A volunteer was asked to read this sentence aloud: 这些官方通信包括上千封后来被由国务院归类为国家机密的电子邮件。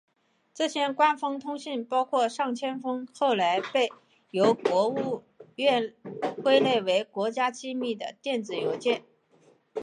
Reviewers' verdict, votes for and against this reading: accepted, 2, 0